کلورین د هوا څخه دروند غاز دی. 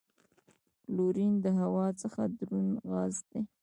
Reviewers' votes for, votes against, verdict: 0, 2, rejected